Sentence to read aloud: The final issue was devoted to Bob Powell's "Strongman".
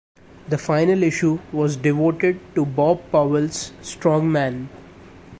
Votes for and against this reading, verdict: 1, 2, rejected